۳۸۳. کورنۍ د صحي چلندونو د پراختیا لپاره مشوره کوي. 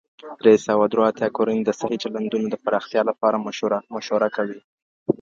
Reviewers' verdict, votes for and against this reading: rejected, 0, 2